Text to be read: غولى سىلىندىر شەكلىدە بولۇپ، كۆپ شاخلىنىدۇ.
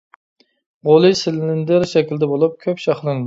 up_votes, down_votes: 0, 2